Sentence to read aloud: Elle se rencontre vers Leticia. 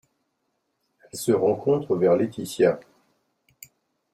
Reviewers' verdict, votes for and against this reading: rejected, 1, 2